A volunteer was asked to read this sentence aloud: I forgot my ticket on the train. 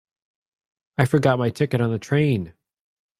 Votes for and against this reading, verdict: 2, 0, accepted